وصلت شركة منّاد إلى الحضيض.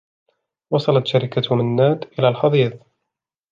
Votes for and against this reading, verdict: 3, 0, accepted